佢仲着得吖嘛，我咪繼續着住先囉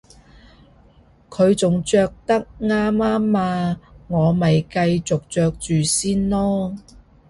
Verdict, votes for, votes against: rejected, 1, 2